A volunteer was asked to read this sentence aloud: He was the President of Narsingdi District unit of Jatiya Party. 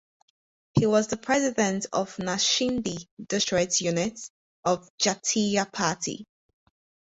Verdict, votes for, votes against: rejected, 0, 2